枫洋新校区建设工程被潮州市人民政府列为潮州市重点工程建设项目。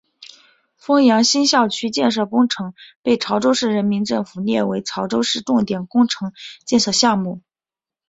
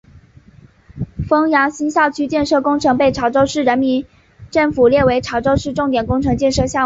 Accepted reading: second